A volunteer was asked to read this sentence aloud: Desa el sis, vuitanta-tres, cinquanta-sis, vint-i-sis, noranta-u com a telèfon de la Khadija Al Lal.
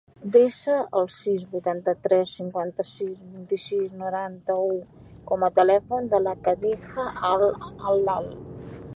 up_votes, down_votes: 2, 0